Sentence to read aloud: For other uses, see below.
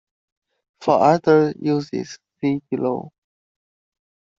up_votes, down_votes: 1, 2